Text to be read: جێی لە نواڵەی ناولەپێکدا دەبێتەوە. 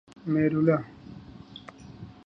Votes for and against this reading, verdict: 0, 2, rejected